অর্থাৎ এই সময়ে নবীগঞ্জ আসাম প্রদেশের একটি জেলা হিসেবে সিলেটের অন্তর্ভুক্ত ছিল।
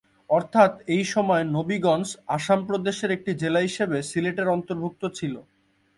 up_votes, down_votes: 2, 0